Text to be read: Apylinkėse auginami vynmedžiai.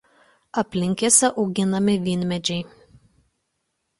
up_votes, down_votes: 1, 2